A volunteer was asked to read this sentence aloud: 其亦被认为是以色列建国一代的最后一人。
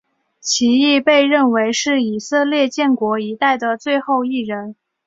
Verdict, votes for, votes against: accepted, 2, 0